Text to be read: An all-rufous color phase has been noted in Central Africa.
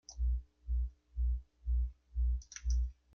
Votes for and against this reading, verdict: 1, 2, rejected